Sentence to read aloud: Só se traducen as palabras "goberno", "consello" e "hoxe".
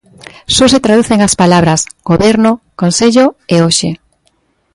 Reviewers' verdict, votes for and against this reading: accepted, 2, 0